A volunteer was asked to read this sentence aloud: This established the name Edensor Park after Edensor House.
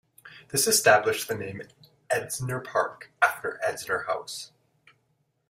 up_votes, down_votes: 2, 0